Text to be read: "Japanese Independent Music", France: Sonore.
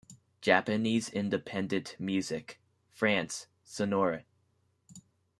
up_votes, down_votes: 2, 0